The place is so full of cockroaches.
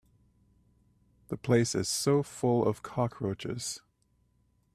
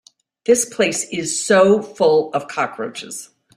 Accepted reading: first